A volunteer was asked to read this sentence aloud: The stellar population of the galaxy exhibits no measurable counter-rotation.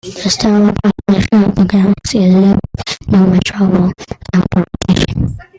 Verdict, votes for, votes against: rejected, 0, 2